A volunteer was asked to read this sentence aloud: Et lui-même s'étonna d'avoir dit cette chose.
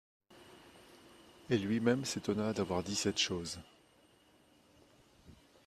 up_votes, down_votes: 2, 1